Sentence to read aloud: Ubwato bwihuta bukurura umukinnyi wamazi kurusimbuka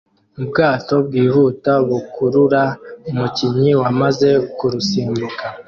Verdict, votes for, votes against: accepted, 2, 1